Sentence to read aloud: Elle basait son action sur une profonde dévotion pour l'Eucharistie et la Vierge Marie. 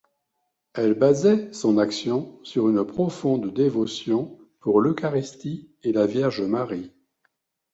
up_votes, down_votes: 2, 0